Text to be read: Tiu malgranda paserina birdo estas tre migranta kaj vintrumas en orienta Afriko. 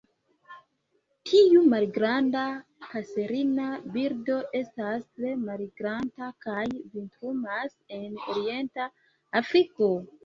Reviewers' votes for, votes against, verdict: 1, 2, rejected